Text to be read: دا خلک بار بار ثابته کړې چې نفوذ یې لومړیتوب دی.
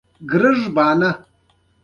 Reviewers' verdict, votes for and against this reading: accepted, 2, 0